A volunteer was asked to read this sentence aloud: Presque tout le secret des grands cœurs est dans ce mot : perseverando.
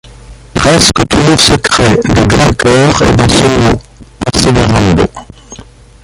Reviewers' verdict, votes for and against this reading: rejected, 0, 2